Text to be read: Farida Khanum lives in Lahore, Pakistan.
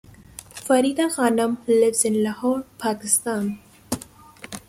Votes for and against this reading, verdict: 2, 0, accepted